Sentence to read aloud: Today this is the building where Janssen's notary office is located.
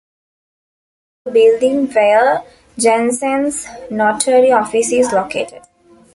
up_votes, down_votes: 1, 2